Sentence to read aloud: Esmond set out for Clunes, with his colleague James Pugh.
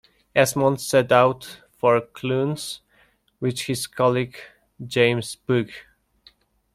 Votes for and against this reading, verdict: 2, 1, accepted